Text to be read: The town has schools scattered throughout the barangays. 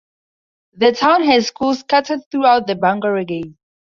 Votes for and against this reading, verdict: 0, 2, rejected